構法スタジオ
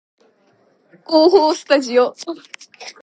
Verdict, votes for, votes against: accepted, 3, 0